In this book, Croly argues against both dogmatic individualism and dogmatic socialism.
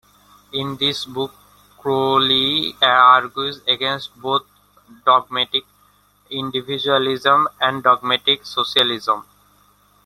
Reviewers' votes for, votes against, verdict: 2, 1, accepted